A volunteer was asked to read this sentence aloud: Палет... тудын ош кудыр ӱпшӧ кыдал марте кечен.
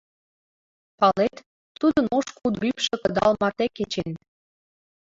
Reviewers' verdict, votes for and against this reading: rejected, 1, 2